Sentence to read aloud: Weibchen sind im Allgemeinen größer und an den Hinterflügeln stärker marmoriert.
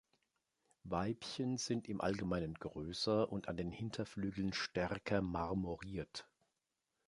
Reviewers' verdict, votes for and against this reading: accepted, 2, 0